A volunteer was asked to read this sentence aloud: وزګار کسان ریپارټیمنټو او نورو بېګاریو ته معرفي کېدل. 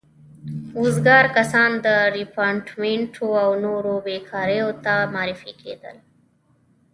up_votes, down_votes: 3, 0